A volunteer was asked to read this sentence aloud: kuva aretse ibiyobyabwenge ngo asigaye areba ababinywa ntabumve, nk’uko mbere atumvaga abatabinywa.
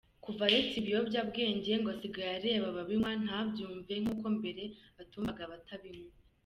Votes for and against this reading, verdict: 2, 0, accepted